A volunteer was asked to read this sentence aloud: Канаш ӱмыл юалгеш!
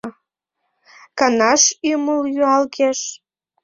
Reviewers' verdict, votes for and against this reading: accepted, 2, 0